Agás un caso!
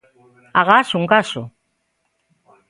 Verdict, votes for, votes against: accepted, 3, 0